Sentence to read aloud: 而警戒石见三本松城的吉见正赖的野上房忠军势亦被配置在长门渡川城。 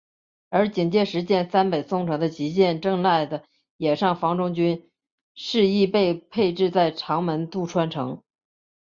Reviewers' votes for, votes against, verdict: 2, 0, accepted